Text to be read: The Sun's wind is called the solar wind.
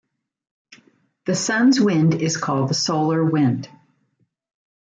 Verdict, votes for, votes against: accepted, 2, 0